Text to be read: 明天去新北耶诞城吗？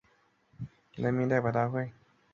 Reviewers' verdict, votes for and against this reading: rejected, 1, 4